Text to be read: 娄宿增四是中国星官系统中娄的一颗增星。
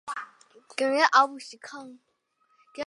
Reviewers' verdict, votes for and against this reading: rejected, 0, 2